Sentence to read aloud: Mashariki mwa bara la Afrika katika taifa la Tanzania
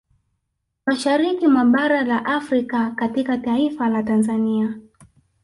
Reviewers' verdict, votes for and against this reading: rejected, 1, 2